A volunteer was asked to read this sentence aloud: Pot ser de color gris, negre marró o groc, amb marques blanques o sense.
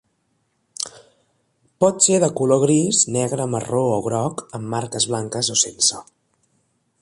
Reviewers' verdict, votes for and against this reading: accepted, 3, 0